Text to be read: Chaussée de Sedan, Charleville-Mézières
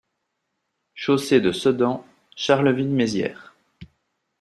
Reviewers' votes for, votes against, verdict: 2, 0, accepted